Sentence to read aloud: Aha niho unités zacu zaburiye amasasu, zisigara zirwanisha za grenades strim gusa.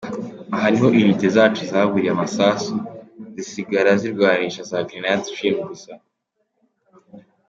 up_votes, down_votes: 2, 0